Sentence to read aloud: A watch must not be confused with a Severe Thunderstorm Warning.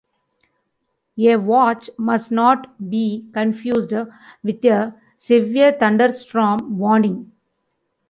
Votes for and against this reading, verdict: 2, 0, accepted